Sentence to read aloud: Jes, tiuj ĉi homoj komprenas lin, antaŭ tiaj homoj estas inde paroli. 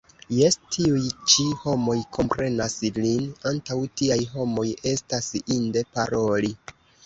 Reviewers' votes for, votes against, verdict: 1, 2, rejected